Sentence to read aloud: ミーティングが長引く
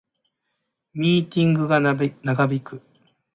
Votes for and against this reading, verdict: 30, 14, accepted